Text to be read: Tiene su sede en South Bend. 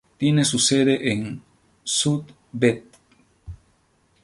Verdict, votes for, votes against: rejected, 0, 2